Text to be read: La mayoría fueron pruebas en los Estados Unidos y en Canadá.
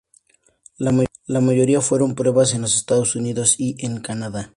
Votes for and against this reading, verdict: 2, 0, accepted